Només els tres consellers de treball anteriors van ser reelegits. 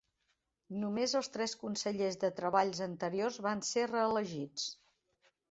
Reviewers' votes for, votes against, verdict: 3, 2, accepted